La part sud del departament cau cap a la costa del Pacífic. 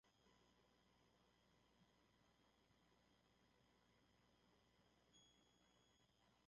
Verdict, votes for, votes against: rejected, 0, 2